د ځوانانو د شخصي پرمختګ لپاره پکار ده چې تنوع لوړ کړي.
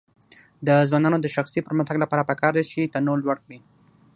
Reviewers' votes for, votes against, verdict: 3, 0, accepted